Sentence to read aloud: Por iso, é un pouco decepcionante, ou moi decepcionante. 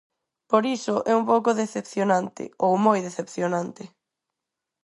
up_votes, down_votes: 4, 0